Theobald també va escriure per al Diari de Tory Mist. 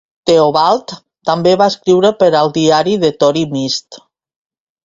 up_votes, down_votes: 2, 0